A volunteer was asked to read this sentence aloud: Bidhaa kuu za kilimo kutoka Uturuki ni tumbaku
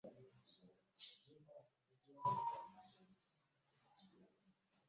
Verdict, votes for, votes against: rejected, 0, 2